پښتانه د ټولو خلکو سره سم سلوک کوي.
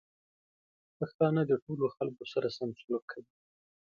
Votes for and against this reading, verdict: 2, 0, accepted